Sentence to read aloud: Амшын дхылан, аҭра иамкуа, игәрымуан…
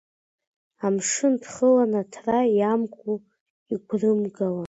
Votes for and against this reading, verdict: 2, 1, accepted